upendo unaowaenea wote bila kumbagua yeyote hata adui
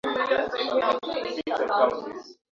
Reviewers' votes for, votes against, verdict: 0, 3, rejected